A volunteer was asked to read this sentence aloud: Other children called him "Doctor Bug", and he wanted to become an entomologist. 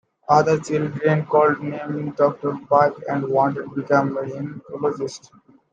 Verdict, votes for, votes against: rejected, 0, 2